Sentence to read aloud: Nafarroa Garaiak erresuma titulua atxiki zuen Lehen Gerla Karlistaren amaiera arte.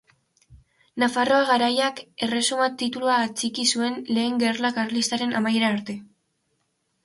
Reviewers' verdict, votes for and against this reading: accepted, 2, 0